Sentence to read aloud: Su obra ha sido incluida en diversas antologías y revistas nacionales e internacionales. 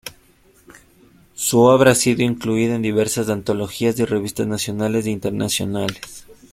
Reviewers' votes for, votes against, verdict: 2, 0, accepted